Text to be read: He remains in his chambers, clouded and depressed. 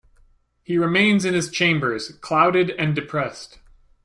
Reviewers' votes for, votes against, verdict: 2, 0, accepted